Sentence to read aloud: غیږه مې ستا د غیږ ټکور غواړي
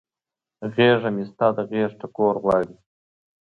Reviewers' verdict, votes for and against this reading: accepted, 2, 0